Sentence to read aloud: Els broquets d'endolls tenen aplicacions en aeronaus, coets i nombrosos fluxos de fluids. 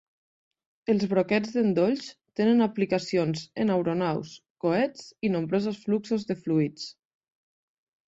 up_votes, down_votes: 2, 0